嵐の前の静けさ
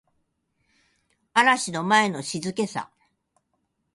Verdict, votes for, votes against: accepted, 3, 0